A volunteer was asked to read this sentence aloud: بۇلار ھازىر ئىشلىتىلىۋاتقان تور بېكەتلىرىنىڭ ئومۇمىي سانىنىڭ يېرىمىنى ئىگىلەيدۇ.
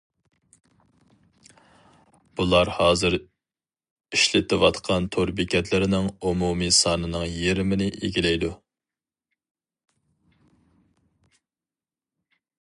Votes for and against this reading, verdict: 2, 0, accepted